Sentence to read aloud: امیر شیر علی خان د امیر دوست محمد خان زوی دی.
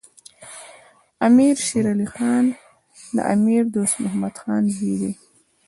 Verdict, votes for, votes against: rejected, 1, 2